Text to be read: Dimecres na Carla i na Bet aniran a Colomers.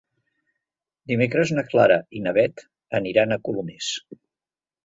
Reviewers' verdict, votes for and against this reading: rejected, 0, 2